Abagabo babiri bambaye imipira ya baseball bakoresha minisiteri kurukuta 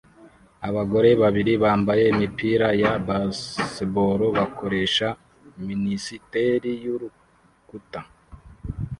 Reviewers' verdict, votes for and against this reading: rejected, 0, 2